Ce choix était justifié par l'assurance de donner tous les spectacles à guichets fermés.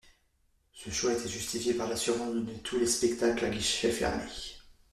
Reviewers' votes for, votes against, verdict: 0, 2, rejected